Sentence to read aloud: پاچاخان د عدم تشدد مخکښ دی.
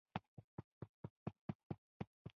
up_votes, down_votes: 0, 2